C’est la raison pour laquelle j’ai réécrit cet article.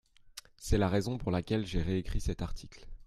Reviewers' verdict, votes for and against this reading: accepted, 2, 0